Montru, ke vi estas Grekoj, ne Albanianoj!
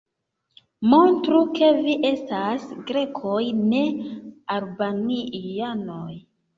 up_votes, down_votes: 0, 2